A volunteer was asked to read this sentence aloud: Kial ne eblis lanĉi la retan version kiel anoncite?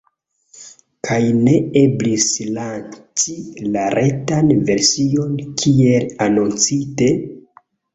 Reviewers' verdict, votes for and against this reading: rejected, 1, 2